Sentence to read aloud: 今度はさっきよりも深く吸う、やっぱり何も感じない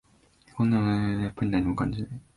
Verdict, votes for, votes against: rejected, 0, 2